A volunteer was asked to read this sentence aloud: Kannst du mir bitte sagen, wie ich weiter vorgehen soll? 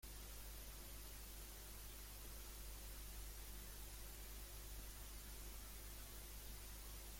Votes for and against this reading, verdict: 0, 2, rejected